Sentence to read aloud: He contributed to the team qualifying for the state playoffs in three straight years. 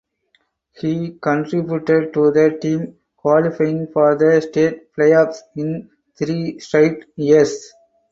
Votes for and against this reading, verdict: 4, 2, accepted